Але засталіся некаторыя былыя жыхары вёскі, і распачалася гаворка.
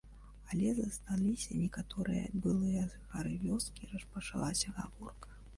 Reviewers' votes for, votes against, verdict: 0, 2, rejected